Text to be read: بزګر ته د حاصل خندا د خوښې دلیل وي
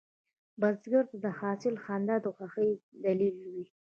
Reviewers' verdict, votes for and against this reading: rejected, 1, 2